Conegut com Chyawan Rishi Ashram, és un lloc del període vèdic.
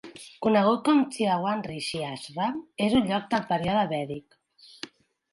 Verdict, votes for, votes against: accepted, 3, 0